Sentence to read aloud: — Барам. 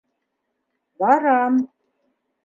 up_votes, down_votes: 2, 0